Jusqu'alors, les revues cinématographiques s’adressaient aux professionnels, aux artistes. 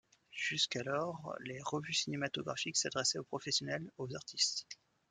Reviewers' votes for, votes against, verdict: 2, 0, accepted